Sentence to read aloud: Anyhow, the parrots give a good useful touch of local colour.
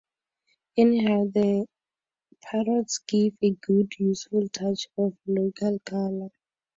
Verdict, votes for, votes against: accepted, 4, 2